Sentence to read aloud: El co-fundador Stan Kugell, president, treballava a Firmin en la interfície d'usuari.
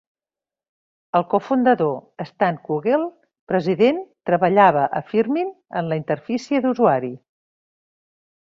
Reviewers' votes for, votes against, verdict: 2, 0, accepted